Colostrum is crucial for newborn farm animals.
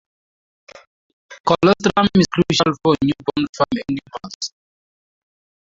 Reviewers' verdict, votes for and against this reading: accepted, 2, 0